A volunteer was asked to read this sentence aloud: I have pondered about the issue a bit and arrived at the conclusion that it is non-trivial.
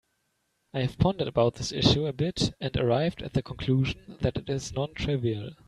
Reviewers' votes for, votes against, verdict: 1, 2, rejected